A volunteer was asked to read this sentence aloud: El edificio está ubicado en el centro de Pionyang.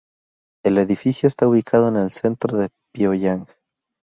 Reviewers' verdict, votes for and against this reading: rejected, 0, 2